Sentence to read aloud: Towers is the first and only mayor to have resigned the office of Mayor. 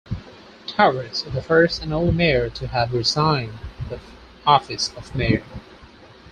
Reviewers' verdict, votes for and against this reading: accepted, 4, 0